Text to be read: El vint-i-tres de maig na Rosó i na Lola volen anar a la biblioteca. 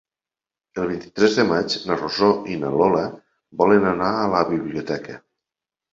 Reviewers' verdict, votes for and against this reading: accepted, 4, 0